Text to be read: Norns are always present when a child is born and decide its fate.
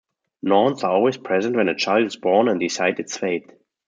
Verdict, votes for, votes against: rejected, 1, 2